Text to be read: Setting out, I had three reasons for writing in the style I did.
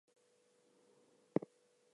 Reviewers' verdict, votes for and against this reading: accepted, 2, 0